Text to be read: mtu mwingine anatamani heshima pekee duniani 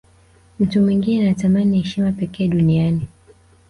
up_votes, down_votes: 1, 2